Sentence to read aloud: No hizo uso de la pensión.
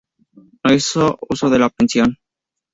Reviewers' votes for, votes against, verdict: 0, 2, rejected